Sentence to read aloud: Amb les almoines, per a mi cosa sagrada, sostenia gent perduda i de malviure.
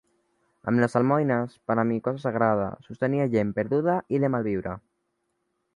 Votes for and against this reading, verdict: 1, 2, rejected